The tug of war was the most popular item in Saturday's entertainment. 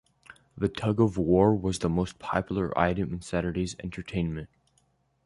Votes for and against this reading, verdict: 2, 0, accepted